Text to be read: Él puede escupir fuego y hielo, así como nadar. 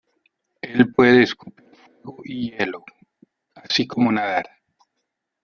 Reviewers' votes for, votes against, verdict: 0, 2, rejected